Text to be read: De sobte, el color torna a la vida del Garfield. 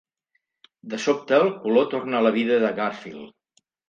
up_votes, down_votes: 1, 2